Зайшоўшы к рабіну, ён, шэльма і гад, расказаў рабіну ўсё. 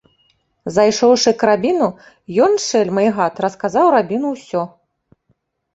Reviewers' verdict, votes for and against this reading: accepted, 2, 0